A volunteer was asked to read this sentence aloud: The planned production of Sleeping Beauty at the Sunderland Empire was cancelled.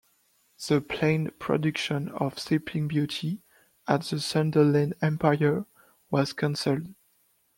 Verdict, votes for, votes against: rejected, 1, 2